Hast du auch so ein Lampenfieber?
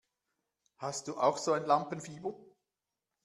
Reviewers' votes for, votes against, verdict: 1, 2, rejected